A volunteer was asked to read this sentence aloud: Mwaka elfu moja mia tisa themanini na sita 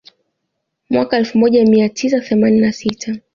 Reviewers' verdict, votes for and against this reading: accepted, 2, 0